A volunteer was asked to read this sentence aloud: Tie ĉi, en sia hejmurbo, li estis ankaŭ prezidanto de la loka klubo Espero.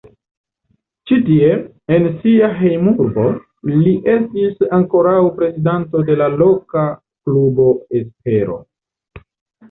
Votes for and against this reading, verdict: 0, 2, rejected